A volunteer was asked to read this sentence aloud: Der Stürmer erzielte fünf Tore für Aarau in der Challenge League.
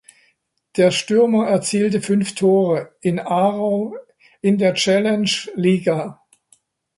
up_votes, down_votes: 0, 2